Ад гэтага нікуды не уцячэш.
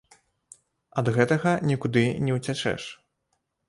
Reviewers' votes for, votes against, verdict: 2, 0, accepted